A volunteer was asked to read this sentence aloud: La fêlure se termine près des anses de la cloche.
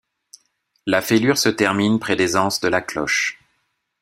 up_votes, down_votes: 2, 0